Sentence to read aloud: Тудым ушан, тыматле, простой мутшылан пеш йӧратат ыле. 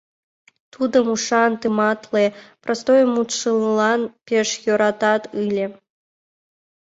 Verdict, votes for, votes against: accepted, 2, 0